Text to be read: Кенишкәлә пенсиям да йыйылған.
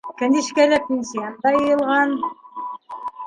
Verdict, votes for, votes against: accepted, 2, 1